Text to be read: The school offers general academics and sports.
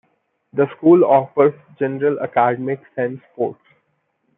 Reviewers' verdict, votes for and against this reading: accepted, 2, 1